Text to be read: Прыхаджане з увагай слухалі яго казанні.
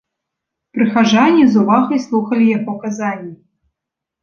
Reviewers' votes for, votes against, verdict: 1, 2, rejected